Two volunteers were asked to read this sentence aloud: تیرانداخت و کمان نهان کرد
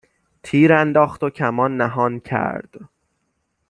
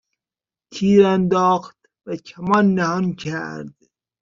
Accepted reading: first